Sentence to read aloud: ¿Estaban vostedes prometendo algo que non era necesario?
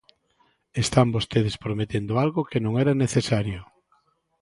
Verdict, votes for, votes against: rejected, 0, 2